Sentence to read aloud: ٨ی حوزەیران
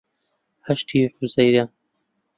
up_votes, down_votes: 0, 2